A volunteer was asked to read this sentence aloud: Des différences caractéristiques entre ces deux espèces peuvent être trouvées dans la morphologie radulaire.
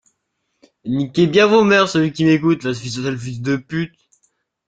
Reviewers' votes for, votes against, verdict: 0, 2, rejected